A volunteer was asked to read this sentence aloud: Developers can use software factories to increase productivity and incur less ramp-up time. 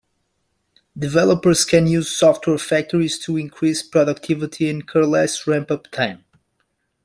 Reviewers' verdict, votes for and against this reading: accepted, 2, 0